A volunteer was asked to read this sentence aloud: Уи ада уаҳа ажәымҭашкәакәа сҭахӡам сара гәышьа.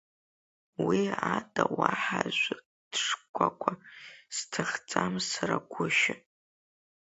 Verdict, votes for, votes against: rejected, 1, 3